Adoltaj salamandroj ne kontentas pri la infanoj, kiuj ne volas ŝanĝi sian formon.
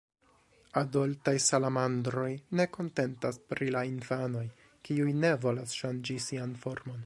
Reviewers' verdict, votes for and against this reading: accepted, 2, 1